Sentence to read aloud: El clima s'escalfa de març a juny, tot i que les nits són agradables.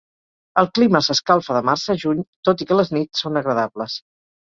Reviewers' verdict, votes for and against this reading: accepted, 4, 0